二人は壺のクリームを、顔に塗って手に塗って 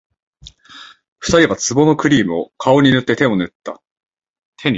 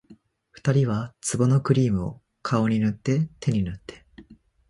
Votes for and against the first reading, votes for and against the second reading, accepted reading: 3, 5, 2, 1, second